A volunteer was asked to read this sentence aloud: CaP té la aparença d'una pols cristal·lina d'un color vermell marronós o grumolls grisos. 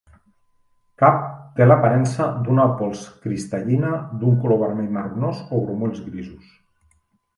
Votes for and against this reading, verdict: 0, 2, rejected